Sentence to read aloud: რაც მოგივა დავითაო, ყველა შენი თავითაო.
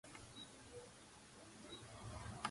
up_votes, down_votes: 0, 2